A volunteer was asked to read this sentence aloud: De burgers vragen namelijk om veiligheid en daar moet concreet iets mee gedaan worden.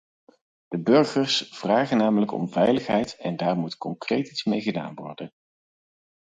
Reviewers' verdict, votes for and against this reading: accepted, 4, 0